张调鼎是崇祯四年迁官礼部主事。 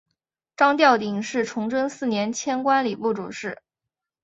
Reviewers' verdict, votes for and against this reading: accepted, 2, 0